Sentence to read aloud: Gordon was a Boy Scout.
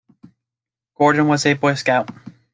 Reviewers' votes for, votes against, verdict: 2, 0, accepted